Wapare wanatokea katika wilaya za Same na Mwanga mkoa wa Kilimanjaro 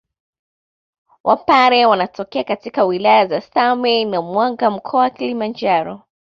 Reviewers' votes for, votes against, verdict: 0, 2, rejected